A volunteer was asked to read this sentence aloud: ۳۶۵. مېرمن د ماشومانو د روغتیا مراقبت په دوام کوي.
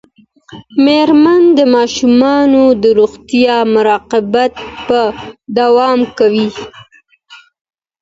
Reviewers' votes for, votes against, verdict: 0, 2, rejected